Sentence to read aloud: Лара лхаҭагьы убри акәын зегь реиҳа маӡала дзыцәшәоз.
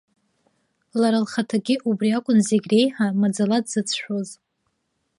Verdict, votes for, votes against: accepted, 2, 0